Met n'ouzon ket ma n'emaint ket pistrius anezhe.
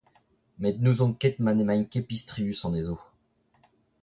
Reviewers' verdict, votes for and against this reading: rejected, 0, 2